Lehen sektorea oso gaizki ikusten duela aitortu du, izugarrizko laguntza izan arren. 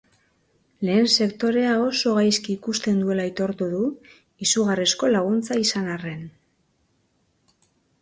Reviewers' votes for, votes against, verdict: 3, 0, accepted